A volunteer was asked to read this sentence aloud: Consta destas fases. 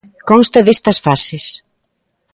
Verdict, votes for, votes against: accepted, 2, 0